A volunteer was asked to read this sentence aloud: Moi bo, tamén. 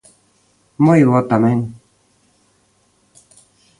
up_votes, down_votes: 2, 0